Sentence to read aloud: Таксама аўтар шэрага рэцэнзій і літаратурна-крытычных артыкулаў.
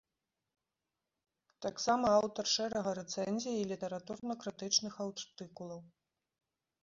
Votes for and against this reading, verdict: 0, 2, rejected